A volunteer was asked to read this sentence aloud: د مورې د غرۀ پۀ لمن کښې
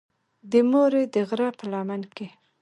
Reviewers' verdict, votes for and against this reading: accepted, 4, 1